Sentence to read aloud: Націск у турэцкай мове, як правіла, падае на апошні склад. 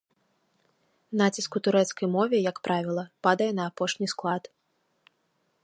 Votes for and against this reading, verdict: 2, 0, accepted